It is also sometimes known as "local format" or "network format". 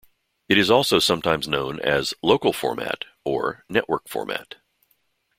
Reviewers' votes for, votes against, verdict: 2, 0, accepted